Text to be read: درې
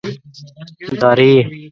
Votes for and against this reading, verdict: 1, 2, rejected